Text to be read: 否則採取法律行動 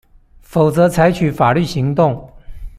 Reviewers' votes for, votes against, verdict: 2, 0, accepted